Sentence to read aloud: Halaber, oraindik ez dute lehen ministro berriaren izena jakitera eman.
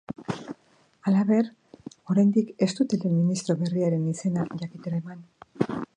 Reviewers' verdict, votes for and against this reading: rejected, 4, 5